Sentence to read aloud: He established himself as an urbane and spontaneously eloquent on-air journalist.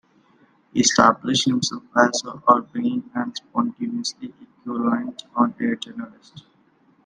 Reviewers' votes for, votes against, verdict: 2, 1, accepted